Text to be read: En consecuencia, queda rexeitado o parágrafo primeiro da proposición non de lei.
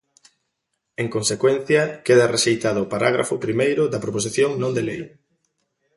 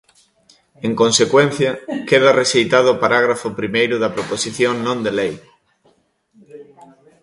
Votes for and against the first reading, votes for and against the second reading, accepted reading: 2, 0, 0, 2, first